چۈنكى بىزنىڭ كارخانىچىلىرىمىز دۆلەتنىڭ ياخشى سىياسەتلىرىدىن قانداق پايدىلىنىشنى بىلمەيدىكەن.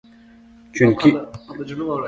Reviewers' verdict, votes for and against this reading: rejected, 0, 2